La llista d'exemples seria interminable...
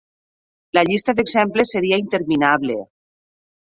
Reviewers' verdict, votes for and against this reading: accepted, 6, 0